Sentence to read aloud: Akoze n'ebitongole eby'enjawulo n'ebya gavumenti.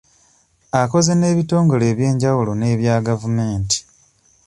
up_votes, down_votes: 2, 0